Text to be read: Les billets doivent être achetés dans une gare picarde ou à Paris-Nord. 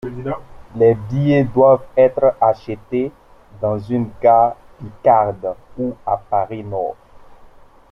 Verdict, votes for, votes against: accepted, 2, 0